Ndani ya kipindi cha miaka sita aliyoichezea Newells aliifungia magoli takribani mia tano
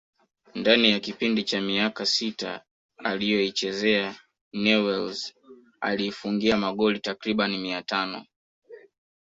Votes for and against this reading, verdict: 1, 2, rejected